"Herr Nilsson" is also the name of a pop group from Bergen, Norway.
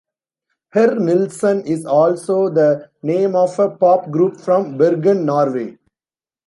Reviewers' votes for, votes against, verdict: 2, 0, accepted